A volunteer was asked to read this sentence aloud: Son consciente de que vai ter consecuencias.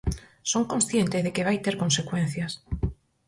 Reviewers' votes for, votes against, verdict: 4, 0, accepted